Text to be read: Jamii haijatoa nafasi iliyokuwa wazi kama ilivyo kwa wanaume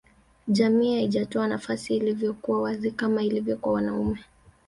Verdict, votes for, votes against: accepted, 2, 1